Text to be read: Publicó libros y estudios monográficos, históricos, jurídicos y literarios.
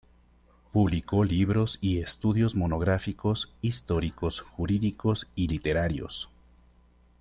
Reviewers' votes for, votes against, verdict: 2, 0, accepted